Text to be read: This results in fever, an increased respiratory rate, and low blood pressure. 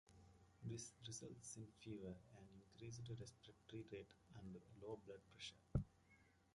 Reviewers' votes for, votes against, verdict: 0, 2, rejected